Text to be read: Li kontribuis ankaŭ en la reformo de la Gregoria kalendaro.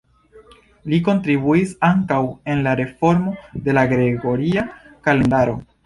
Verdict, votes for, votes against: accepted, 2, 1